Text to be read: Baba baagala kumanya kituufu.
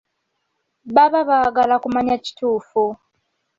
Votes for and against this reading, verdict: 2, 0, accepted